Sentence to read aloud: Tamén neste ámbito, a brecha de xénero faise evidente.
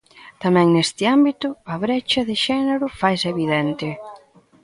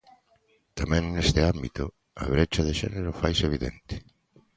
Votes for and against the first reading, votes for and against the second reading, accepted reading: 1, 2, 2, 0, second